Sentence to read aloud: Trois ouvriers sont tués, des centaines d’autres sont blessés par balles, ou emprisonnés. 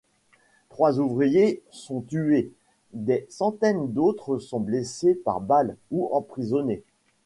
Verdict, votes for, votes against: accepted, 2, 1